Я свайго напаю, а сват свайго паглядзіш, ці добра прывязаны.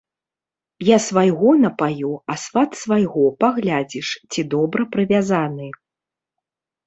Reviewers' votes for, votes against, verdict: 1, 2, rejected